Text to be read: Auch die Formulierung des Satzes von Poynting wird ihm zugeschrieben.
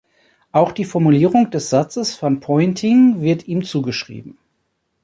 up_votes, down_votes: 2, 0